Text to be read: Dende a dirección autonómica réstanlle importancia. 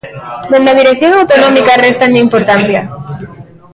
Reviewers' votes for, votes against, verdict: 1, 2, rejected